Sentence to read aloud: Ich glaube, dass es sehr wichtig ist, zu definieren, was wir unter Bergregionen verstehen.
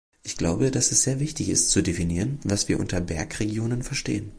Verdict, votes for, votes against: accepted, 2, 0